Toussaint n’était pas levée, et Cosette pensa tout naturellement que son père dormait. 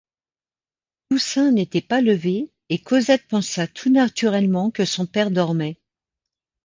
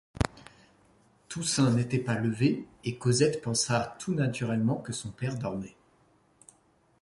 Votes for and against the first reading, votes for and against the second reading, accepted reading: 1, 2, 2, 1, second